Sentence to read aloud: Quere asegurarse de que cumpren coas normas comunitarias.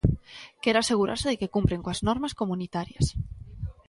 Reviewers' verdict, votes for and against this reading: accepted, 2, 0